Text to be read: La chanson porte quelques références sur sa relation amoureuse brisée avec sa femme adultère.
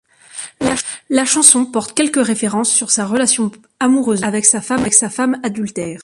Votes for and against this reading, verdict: 0, 2, rejected